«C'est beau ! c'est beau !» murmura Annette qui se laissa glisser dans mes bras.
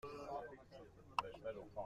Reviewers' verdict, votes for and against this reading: rejected, 0, 2